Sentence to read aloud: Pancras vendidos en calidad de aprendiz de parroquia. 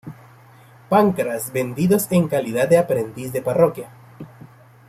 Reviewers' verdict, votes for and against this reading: accepted, 2, 0